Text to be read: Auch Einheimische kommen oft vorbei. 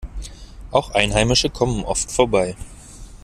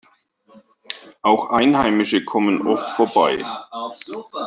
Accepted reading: first